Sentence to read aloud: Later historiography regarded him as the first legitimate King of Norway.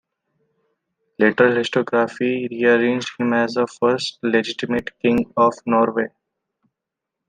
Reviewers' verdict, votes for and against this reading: rejected, 0, 2